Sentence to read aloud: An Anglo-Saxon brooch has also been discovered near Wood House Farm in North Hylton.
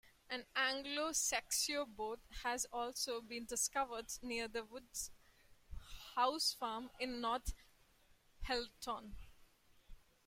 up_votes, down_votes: 0, 2